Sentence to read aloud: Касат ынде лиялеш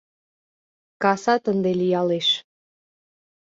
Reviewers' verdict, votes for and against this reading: accepted, 2, 0